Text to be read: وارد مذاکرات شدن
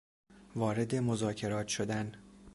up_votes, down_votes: 2, 0